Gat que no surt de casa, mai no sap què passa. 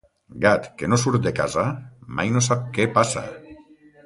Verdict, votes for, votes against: accepted, 2, 0